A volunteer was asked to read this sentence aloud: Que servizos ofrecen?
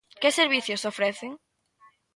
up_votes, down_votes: 2, 0